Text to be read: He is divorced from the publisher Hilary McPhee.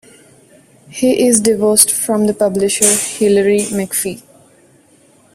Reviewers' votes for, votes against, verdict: 2, 0, accepted